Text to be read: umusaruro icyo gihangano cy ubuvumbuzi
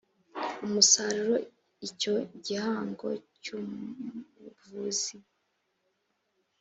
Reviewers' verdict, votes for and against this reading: rejected, 0, 2